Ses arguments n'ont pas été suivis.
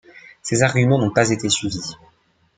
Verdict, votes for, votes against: accepted, 2, 1